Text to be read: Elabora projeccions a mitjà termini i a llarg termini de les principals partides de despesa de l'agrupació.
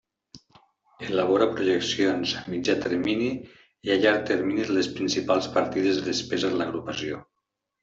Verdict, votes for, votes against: rejected, 1, 2